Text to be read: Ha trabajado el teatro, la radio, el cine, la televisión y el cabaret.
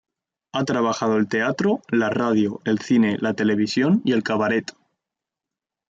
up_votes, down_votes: 2, 0